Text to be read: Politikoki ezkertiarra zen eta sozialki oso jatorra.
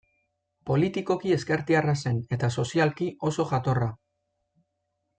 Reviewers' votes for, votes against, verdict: 2, 0, accepted